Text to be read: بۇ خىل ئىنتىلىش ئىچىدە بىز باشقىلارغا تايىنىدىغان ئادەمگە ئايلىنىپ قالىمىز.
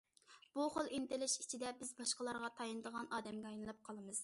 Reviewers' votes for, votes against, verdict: 2, 0, accepted